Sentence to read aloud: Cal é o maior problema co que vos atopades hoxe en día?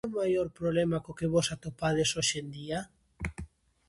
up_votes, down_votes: 0, 2